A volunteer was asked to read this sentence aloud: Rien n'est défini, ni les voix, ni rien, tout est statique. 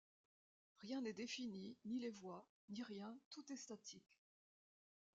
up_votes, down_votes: 1, 2